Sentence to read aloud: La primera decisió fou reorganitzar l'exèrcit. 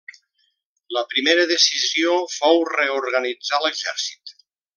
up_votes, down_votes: 3, 0